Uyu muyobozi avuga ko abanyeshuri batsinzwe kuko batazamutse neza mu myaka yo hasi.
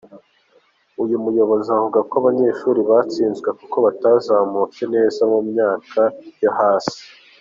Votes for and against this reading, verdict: 3, 0, accepted